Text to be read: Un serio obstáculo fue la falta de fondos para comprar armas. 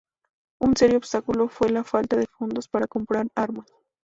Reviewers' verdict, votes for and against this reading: rejected, 0, 2